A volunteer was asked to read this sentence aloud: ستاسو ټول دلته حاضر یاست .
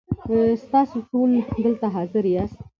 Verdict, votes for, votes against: accepted, 2, 1